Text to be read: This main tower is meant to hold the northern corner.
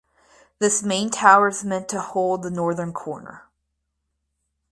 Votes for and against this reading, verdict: 4, 2, accepted